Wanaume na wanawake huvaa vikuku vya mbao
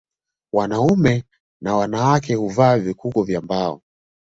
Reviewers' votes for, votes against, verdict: 2, 1, accepted